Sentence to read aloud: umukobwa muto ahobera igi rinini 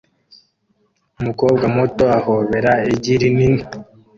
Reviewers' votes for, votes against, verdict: 2, 0, accepted